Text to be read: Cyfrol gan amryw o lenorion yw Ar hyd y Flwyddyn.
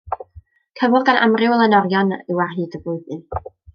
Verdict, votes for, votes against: rejected, 1, 2